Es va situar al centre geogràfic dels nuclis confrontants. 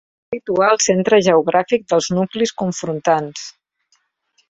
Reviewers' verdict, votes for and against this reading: rejected, 1, 2